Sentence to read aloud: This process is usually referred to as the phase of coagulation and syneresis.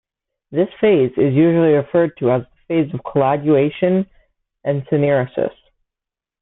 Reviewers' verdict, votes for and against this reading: rejected, 0, 2